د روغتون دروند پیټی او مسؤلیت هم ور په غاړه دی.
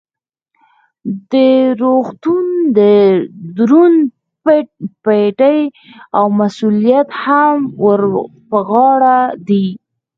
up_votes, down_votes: 0, 4